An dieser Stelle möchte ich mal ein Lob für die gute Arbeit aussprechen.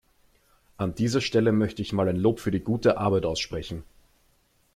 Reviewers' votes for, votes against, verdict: 3, 0, accepted